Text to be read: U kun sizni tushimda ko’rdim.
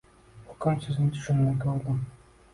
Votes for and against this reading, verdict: 2, 0, accepted